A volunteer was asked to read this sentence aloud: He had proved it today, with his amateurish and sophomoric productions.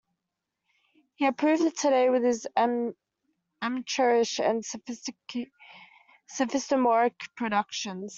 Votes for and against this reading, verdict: 0, 2, rejected